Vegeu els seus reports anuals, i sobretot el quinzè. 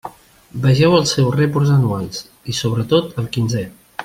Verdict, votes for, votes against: accepted, 2, 0